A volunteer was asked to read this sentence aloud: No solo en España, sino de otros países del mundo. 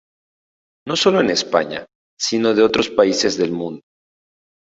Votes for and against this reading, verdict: 2, 0, accepted